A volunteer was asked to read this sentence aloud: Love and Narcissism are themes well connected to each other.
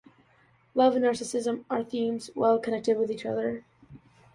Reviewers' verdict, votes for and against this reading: rejected, 1, 2